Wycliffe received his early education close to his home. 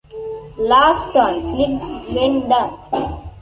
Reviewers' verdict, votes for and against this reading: rejected, 0, 2